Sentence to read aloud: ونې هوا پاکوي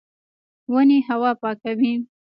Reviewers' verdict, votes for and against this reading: rejected, 0, 2